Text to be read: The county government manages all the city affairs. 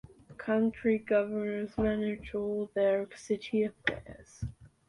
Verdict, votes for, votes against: rejected, 1, 2